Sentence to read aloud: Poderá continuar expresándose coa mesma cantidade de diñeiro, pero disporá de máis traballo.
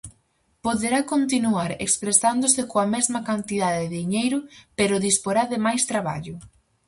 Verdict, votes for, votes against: accepted, 4, 0